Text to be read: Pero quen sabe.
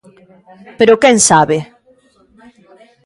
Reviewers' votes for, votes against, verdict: 0, 2, rejected